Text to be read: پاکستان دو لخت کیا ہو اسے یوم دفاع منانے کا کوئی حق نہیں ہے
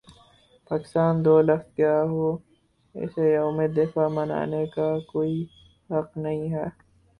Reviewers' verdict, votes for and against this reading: accepted, 4, 2